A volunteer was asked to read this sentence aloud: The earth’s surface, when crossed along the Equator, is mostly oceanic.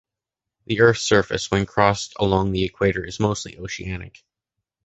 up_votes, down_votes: 2, 0